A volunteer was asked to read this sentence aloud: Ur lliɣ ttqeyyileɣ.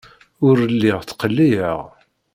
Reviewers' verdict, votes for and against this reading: rejected, 0, 2